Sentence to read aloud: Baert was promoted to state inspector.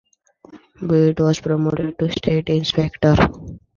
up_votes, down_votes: 1, 2